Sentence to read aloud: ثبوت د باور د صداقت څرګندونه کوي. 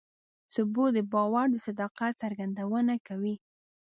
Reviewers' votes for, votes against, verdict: 2, 0, accepted